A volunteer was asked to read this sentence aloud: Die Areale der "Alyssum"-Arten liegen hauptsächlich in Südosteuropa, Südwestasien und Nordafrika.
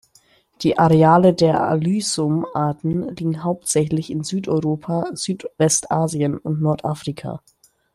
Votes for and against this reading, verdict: 0, 2, rejected